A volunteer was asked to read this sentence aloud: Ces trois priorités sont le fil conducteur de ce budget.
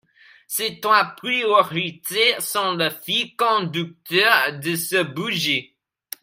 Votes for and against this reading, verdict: 0, 2, rejected